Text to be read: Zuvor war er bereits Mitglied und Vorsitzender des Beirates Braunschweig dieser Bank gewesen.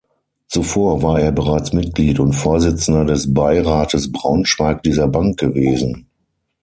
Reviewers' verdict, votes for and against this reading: accepted, 6, 0